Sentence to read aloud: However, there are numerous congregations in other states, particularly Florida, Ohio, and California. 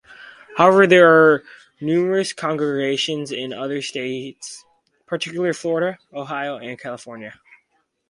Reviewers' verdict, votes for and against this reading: accepted, 4, 2